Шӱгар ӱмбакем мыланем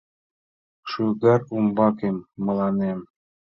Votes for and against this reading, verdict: 1, 3, rejected